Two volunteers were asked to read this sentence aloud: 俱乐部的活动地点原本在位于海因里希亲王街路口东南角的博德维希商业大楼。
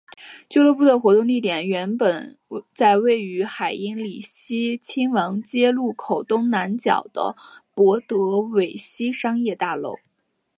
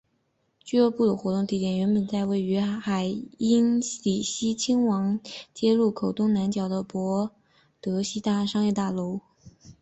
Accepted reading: first